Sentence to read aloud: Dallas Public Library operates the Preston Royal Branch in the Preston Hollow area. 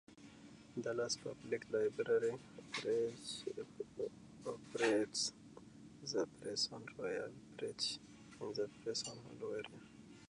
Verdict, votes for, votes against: rejected, 0, 2